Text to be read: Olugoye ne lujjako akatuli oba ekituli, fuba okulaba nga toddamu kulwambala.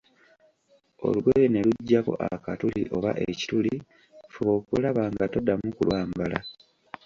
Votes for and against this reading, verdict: 2, 1, accepted